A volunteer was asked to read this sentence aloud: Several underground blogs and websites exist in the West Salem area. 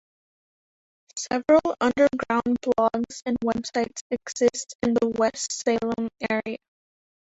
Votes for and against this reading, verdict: 2, 0, accepted